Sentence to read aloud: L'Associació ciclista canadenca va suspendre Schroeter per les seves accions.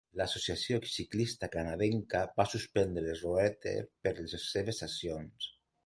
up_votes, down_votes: 1, 2